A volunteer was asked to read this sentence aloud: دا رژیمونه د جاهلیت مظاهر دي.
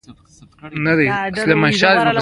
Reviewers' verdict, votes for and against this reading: rejected, 0, 2